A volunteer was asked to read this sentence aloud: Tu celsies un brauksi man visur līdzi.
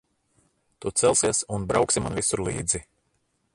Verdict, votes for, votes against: rejected, 0, 2